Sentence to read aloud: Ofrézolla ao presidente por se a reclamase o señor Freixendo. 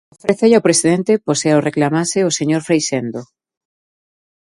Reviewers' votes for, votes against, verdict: 0, 2, rejected